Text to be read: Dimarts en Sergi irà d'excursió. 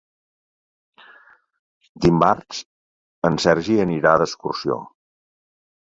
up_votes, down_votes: 0, 2